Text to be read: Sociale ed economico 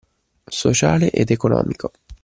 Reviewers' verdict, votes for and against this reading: accepted, 2, 0